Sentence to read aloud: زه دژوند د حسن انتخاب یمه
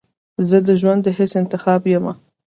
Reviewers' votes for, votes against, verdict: 1, 2, rejected